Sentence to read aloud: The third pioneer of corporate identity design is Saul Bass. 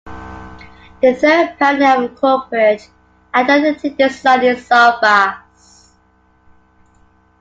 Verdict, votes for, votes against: accepted, 2, 0